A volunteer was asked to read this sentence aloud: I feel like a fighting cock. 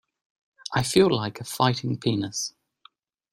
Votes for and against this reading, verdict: 0, 2, rejected